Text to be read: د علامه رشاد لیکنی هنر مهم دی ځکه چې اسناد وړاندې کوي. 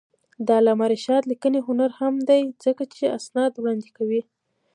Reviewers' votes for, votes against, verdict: 2, 0, accepted